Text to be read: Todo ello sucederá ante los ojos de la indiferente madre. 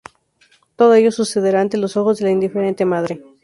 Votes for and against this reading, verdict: 2, 0, accepted